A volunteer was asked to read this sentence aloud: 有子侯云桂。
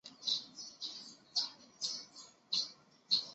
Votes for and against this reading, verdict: 0, 4, rejected